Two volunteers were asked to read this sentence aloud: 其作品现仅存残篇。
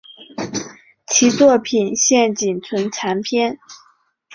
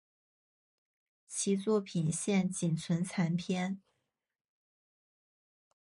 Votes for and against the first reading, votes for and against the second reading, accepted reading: 0, 2, 4, 0, second